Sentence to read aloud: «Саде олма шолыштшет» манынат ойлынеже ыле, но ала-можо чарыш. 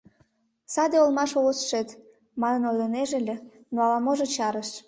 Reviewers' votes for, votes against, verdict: 2, 1, accepted